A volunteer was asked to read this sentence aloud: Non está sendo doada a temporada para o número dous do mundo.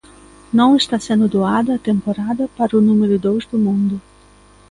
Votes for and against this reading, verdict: 2, 0, accepted